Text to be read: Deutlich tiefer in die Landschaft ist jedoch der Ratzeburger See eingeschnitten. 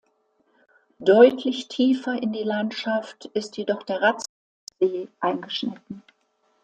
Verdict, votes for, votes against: rejected, 0, 2